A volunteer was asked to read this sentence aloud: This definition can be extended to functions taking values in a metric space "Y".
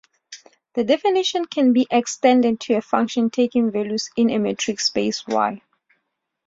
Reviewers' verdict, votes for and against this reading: rejected, 0, 2